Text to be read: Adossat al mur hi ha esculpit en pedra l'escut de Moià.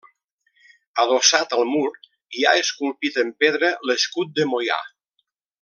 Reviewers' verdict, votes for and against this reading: rejected, 0, 2